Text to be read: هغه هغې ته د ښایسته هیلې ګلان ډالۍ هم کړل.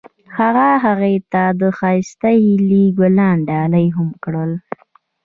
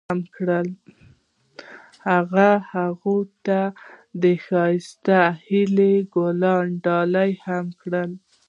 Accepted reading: first